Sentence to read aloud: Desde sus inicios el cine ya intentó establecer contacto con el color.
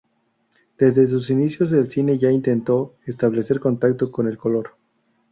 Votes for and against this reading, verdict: 0, 2, rejected